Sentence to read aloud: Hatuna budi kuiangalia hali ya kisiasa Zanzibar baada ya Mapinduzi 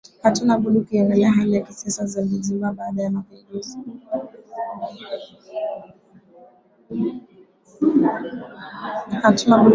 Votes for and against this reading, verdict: 0, 2, rejected